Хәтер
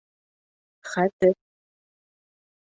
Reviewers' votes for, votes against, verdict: 4, 0, accepted